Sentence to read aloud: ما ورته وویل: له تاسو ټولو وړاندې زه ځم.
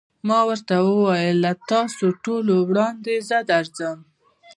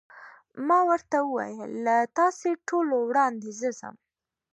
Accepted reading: second